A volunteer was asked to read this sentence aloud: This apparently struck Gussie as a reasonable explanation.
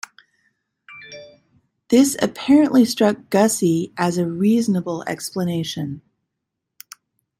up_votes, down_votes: 0, 2